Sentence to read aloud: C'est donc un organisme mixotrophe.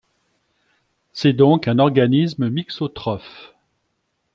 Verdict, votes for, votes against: accepted, 2, 0